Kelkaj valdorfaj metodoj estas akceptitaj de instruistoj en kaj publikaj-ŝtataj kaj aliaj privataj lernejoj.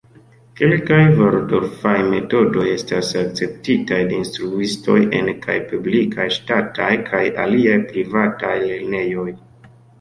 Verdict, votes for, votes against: rejected, 1, 2